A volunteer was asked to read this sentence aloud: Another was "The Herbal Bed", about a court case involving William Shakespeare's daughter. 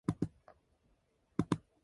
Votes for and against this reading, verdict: 0, 2, rejected